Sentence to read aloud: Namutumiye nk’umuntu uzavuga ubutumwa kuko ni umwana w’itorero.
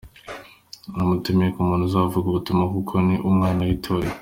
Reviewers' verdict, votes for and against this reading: accepted, 3, 0